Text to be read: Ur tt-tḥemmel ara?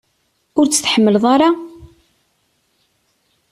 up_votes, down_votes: 1, 2